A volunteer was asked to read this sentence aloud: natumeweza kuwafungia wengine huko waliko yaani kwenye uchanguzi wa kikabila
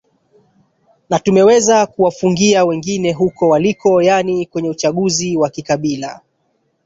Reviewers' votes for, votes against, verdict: 1, 2, rejected